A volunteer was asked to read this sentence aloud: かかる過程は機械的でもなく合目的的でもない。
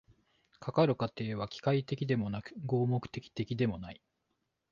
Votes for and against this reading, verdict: 2, 1, accepted